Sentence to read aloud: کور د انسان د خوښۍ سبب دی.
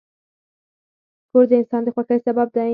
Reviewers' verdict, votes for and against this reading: accepted, 4, 2